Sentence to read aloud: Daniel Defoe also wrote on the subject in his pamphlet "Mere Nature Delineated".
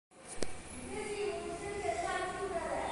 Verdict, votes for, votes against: rejected, 0, 2